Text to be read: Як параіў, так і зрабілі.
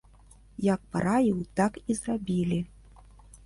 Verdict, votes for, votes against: accepted, 2, 0